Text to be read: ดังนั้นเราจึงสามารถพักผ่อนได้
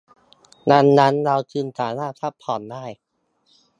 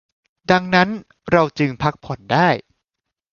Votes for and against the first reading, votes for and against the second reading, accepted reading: 2, 0, 0, 2, first